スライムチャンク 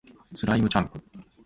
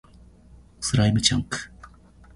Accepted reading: first